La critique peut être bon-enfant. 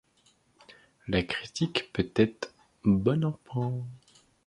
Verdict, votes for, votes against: rejected, 0, 2